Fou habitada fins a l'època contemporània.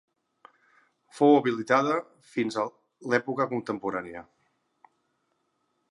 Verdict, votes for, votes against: rejected, 0, 2